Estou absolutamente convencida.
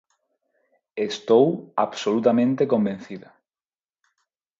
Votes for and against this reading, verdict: 4, 0, accepted